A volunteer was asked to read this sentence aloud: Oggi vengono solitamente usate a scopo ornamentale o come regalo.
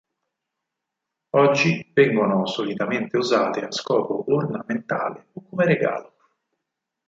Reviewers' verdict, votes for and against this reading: rejected, 2, 4